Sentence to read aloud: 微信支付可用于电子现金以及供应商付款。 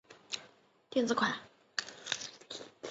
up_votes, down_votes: 0, 5